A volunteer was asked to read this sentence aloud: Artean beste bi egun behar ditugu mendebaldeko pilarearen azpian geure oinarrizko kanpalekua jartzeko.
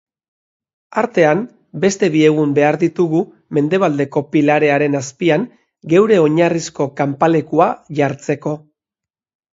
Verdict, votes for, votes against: accepted, 2, 0